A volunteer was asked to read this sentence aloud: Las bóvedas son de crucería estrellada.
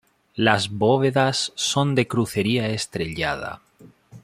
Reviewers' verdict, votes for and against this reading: accepted, 2, 0